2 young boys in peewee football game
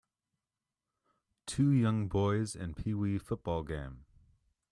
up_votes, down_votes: 0, 2